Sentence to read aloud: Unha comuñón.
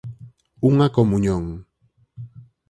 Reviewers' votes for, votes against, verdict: 4, 0, accepted